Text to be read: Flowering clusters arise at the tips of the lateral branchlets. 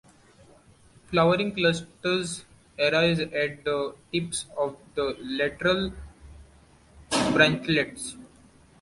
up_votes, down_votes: 0, 2